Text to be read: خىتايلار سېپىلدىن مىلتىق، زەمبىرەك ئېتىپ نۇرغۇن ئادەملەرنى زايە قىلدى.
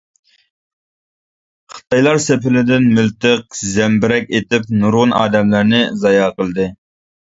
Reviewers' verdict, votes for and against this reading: rejected, 1, 2